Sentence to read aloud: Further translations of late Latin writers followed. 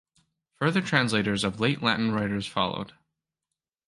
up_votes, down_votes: 1, 2